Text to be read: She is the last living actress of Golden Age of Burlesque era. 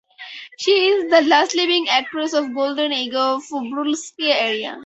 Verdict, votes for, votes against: accepted, 4, 0